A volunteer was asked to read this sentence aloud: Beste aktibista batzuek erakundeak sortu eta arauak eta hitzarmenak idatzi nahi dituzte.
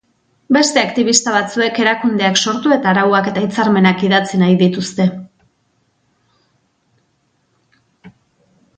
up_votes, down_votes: 2, 0